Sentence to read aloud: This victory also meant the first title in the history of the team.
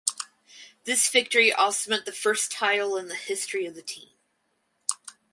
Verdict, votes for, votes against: rejected, 2, 2